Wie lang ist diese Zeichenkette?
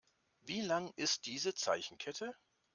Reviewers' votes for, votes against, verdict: 2, 0, accepted